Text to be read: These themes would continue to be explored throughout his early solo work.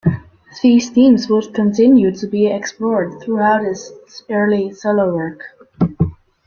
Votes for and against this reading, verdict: 2, 0, accepted